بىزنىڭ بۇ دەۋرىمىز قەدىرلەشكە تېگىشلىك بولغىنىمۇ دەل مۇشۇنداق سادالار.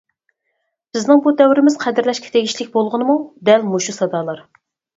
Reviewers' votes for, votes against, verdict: 0, 4, rejected